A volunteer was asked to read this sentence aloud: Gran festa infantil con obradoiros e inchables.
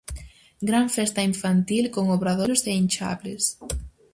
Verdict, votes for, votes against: rejected, 2, 2